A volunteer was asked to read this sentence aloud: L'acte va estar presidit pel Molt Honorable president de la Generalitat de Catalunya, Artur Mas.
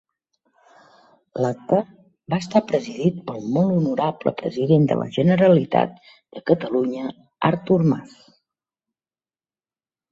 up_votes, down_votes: 6, 0